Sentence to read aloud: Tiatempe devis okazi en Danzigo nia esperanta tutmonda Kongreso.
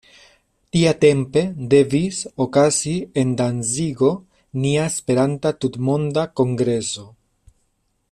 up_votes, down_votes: 2, 0